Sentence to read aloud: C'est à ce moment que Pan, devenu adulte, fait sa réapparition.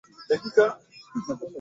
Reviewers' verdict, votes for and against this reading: rejected, 0, 2